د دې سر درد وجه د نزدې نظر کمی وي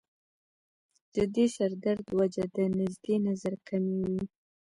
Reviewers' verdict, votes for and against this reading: accepted, 2, 0